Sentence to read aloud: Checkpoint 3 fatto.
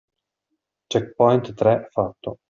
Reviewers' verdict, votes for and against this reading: rejected, 0, 2